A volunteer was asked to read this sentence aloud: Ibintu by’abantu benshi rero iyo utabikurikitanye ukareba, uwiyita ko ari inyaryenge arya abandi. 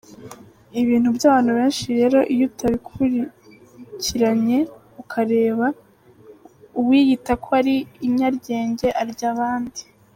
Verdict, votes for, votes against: rejected, 0, 2